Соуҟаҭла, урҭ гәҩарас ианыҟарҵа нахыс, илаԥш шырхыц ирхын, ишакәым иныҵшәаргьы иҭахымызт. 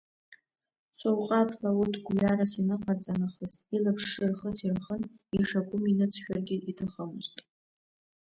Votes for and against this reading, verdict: 0, 2, rejected